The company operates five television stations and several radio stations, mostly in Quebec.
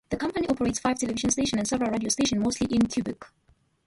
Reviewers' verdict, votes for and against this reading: rejected, 0, 2